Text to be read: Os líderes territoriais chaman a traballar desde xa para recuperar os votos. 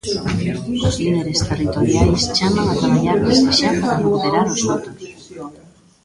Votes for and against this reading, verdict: 0, 2, rejected